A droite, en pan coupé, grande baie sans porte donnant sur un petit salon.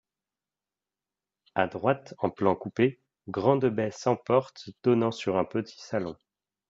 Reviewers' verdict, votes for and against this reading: rejected, 0, 2